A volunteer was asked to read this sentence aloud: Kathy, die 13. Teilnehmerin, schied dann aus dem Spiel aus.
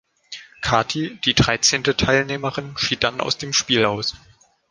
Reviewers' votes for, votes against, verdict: 0, 2, rejected